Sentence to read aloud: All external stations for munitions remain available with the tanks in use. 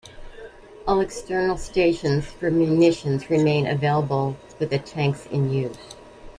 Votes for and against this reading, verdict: 2, 0, accepted